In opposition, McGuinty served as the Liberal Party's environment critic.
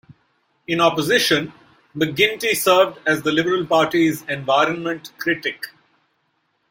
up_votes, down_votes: 1, 2